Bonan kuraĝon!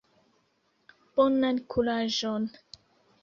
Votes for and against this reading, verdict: 2, 0, accepted